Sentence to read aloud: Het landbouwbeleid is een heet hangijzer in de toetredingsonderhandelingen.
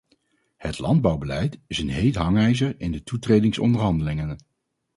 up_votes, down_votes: 2, 2